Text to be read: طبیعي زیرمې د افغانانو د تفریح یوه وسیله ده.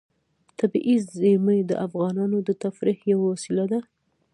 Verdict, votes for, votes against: rejected, 0, 2